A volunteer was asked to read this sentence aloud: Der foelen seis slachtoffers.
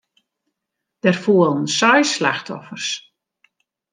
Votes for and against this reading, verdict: 2, 0, accepted